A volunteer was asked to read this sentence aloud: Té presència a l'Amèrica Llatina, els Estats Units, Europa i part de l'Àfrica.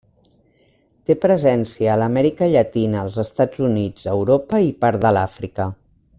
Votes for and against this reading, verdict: 2, 0, accepted